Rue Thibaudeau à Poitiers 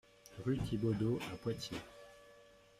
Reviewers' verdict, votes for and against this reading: accepted, 2, 0